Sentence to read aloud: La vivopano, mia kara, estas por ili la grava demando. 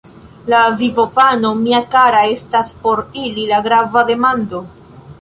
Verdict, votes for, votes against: accepted, 2, 1